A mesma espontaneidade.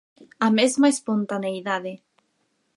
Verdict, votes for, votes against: accepted, 4, 0